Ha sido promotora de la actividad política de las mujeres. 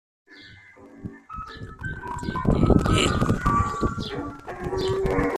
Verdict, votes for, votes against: rejected, 0, 2